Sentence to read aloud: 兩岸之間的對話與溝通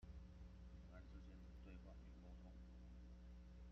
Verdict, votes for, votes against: rejected, 0, 2